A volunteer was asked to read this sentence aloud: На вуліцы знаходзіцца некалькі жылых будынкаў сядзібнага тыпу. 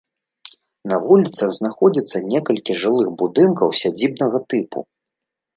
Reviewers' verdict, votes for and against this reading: rejected, 0, 2